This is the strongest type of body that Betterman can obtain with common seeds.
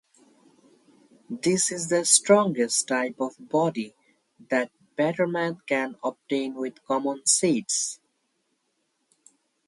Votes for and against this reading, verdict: 2, 0, accepted